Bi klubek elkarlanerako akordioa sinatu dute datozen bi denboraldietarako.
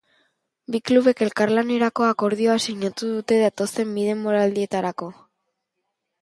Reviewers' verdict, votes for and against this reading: accepted, 5, 0